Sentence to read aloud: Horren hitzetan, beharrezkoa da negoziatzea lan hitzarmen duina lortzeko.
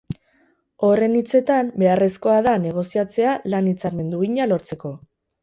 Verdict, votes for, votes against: accepted, 4, 0